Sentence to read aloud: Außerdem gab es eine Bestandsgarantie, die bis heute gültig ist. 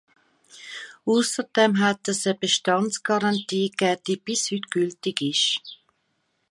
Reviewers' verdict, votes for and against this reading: rejected, 1, 2